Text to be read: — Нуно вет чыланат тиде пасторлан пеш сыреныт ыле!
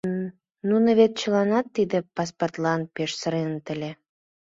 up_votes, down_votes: 1, 2